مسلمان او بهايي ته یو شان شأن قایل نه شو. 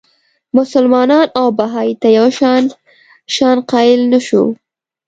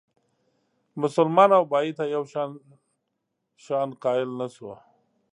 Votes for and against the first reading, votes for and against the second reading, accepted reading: 2, 0, 1, 2, first